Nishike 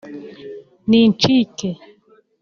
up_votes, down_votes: 0, 2